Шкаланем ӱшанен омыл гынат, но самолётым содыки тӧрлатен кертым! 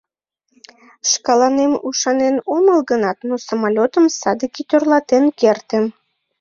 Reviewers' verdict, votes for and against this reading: rejected, 1, 3